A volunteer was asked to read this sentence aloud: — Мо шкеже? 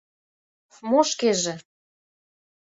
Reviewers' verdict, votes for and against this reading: accepted, 2, 0